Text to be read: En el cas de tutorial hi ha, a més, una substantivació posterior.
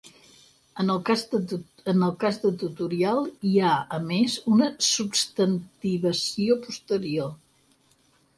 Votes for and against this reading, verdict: 0, 4, rejected